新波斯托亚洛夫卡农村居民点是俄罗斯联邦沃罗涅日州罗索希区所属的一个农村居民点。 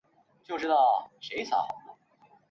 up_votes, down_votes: 1, 3